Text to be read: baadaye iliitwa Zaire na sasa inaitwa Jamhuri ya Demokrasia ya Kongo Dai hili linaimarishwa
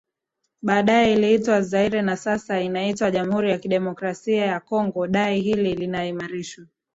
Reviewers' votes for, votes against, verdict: 2, 0, accepted